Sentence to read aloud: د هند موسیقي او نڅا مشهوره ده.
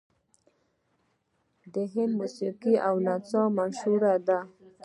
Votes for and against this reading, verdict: 0, 2, rejected